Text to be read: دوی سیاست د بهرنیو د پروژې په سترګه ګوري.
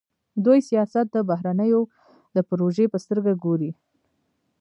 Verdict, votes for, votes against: accepted, 2, 1